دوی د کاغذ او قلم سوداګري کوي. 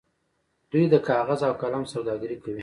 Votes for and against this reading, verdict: 0, 2, rejected